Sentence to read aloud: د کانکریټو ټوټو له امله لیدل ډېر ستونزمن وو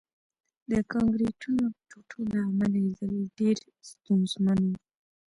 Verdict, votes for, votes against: accepted, 2, 0